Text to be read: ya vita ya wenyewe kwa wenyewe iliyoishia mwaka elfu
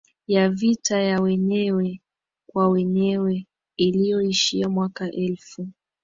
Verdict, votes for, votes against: accepted, 2, 0